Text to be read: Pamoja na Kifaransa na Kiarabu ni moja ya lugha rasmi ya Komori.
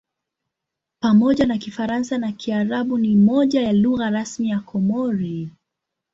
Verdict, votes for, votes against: accepted, 2, 0